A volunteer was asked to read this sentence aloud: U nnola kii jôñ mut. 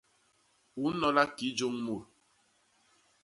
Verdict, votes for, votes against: rejected, 0, 2